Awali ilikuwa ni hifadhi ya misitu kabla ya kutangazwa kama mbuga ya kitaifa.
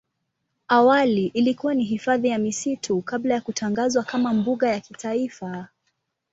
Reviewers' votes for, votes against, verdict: 2, 0, accepted